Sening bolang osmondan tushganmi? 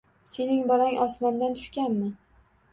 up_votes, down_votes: 2, 0